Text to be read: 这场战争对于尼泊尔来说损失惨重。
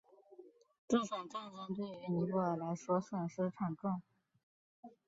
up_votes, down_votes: 1, 2